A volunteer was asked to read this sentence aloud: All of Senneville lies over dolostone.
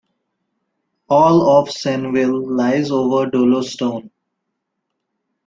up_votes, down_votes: 2, 0